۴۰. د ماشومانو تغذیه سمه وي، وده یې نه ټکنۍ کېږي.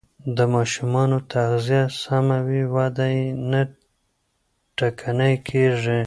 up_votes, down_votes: 0, 2